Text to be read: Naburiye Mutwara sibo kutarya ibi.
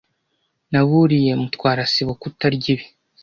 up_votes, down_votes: 2, 0